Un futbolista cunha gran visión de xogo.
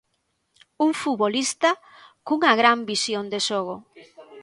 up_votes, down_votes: 0, 2